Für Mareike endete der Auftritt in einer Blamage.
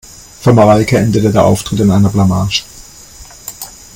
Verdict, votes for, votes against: accepted, 2, 0